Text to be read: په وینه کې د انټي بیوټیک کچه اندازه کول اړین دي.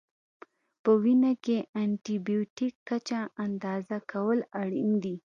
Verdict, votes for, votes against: accepted, 2, 0